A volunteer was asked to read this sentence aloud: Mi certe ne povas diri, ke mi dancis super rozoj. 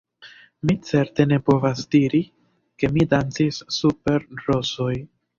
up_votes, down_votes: 0, 2